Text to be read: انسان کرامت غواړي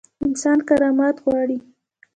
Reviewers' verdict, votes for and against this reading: rejected, 1, 2